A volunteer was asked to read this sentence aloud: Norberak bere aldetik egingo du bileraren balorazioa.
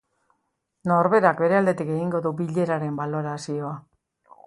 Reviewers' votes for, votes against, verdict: 5, 0, accepted